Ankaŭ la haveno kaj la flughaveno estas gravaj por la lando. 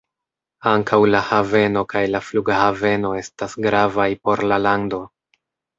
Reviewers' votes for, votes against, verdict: 2, 0, accepted